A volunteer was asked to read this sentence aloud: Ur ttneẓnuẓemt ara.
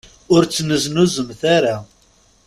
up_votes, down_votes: 1, 2